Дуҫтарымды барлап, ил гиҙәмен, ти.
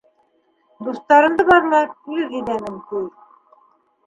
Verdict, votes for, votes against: accepted, 2, 1